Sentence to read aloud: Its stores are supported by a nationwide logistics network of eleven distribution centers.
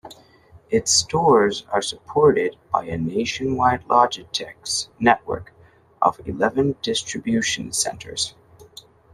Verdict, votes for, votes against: rejected, 1, 2